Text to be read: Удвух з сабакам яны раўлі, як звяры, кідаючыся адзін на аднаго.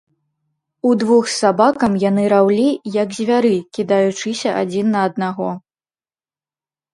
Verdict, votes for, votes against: rejected, 1, 2